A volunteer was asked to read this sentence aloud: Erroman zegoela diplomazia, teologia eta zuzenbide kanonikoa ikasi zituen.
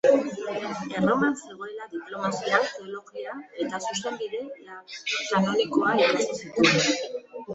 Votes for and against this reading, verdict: 0, 2, rejected